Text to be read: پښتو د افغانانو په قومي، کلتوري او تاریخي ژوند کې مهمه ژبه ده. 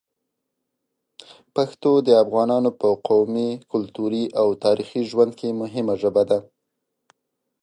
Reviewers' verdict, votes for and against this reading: accepted, 2, 0